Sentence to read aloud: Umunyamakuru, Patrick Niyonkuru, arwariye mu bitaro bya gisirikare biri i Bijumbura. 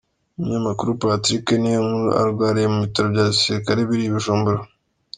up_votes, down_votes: 2, 0